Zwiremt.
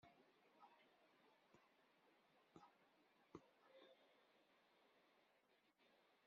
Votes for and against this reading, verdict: 1, 2, rejected